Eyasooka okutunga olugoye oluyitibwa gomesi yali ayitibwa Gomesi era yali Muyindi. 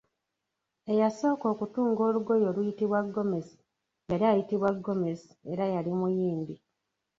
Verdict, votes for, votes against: rejected, 2, 3